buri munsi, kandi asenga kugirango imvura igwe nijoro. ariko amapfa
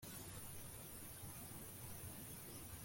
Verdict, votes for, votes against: rejected, 0, 2